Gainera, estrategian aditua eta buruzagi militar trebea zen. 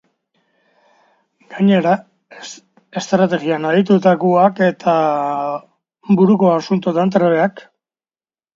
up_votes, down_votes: 2, 1